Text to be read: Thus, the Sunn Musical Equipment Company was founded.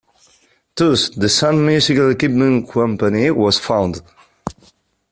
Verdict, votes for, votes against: rejected, 1, 2